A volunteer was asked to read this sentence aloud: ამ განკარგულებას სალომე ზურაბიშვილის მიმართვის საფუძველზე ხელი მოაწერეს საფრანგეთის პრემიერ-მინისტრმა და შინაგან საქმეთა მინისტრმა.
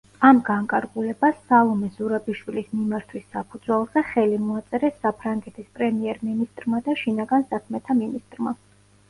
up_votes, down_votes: 2, 0